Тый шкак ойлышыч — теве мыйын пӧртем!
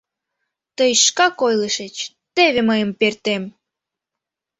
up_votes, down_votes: 0, 2